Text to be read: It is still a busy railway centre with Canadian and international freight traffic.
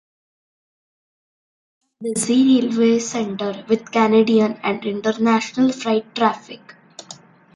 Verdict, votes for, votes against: rejected, 0, 2